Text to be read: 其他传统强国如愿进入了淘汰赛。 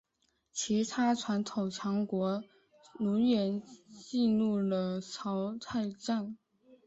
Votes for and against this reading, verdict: 4, 2, accepted